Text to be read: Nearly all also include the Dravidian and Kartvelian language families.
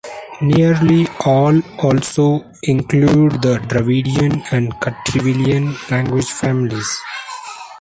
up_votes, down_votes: 2, 1